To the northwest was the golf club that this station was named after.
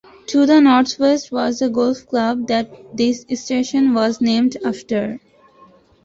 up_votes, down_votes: 2, 1